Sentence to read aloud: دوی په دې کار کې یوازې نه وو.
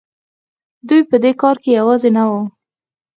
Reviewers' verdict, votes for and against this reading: accepted, 4, 0